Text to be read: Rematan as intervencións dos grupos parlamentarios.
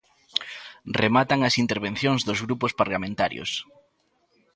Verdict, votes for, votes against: accepted, 2, 0